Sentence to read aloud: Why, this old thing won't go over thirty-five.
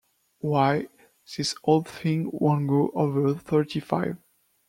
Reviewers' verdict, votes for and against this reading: rejected, 1, 2